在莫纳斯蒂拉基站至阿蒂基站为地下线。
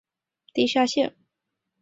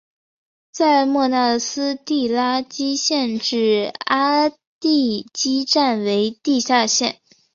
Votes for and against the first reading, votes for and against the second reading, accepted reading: 0, 3, 2, 0, second